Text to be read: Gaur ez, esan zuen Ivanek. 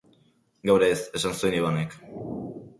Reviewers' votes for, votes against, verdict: 2, 0, accepted